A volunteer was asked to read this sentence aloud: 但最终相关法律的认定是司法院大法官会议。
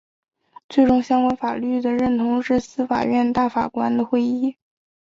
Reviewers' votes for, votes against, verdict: 1, 2, rejected